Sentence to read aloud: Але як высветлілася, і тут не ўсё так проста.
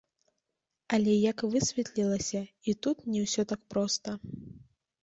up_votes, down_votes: 1, 2